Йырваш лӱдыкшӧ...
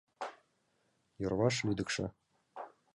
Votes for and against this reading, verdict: 2, 0, accepted